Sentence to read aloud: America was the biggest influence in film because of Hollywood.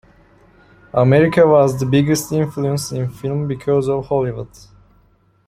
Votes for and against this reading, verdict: 2, 0, accepted